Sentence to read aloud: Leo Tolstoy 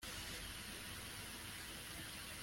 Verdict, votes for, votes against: rejected, 0, 2